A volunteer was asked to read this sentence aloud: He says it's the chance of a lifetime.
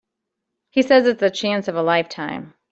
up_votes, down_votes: 2, 0